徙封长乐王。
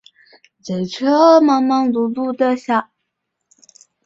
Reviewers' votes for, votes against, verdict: 0, 9, rejected